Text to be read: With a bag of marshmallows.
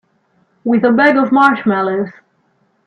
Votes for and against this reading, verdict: 3, 1, accepted